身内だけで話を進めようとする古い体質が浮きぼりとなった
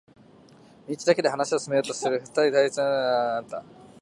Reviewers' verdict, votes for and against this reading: rejected, 0, 2